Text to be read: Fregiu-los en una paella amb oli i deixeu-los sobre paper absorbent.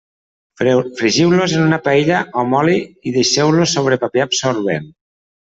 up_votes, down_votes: 0, 2